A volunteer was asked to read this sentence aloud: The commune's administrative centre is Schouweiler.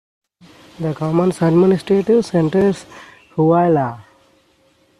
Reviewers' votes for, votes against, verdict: 2, 1, accepted